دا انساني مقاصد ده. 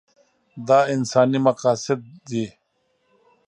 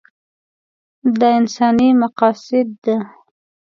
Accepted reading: second